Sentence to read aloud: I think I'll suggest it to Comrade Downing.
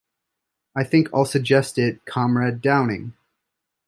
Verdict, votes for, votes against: rejected, 0, 2